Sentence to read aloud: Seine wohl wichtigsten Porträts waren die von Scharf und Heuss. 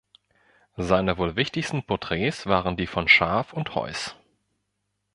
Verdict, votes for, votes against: accepted, 2, 1